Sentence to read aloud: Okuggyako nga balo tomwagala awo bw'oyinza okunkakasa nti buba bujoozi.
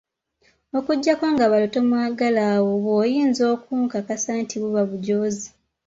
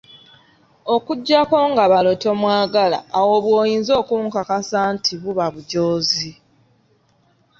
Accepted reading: second